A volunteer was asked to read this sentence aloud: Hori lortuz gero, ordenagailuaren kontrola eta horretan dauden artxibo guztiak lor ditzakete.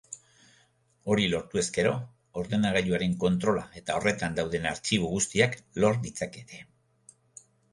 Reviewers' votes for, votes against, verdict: 1, 2, rejected